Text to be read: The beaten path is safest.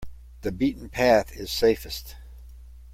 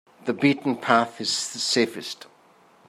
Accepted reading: first